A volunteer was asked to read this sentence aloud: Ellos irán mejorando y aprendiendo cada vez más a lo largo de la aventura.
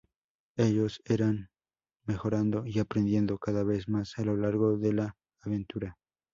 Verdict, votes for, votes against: rejected, 0, 2